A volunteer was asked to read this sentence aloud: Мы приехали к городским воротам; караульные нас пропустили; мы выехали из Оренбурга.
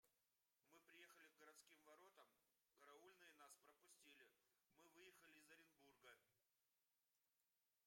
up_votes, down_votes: 0, 2